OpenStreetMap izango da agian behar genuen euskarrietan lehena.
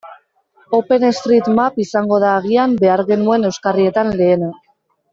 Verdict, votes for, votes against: accepted, 2, 0